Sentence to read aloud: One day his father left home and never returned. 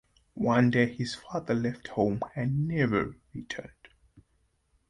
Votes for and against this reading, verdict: 2, 0, accepted